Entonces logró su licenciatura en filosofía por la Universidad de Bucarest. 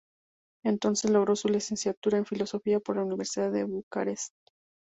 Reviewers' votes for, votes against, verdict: 2, 0, accepted